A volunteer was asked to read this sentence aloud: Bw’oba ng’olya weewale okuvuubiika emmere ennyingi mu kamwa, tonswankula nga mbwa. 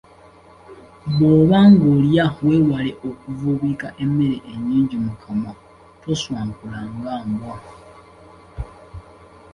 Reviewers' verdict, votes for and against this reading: accepted, 2, 0